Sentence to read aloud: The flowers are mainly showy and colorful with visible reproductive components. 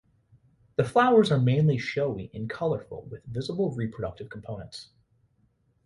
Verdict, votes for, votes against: accepted, 2, 0